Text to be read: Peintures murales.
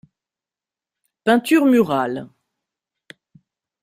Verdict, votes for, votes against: accepted, 2, 0